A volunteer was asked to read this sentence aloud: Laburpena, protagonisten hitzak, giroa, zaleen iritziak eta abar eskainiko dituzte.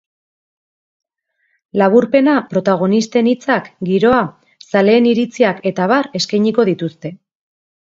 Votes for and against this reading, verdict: 2, 0, accepted